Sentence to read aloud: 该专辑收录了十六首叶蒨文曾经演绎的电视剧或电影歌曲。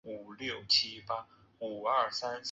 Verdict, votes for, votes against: accepted, 4, 1